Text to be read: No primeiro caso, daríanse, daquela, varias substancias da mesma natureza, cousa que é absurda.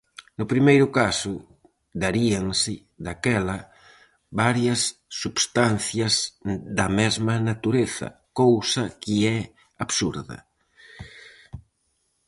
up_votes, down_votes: 4, 0